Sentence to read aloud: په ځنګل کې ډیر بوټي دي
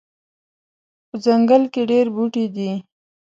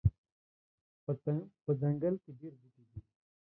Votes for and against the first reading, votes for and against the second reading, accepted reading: 2, 0, 0, 2, first